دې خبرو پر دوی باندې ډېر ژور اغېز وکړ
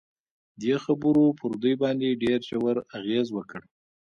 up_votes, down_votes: 2, 0